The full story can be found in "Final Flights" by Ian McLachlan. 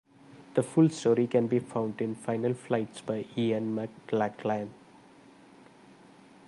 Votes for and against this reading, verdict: 1, 2, rejected